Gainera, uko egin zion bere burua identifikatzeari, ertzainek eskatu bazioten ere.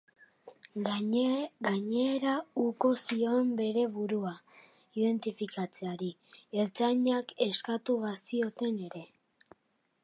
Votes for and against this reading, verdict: 0, 4, rejected